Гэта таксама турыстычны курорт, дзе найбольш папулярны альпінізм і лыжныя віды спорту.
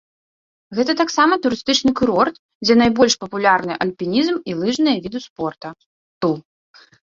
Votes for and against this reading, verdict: 0, 2, rejected